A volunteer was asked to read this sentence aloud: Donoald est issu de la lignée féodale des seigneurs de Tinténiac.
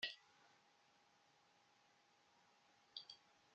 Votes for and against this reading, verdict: 0, 3, rejected